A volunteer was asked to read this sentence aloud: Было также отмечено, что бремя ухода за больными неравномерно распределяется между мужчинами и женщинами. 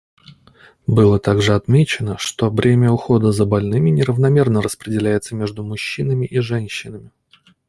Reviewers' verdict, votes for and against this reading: accepted, 2, 0